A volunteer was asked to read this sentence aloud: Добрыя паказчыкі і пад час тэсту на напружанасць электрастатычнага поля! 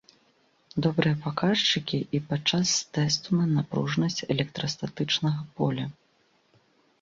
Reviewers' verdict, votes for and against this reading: rejected, 1, 2